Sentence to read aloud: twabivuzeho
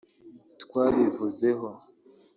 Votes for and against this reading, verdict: 1, 2, rejected